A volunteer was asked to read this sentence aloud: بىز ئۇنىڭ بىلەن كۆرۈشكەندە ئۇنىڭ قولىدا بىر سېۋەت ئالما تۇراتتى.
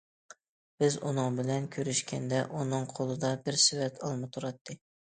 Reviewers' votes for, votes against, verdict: 2, 0, accepted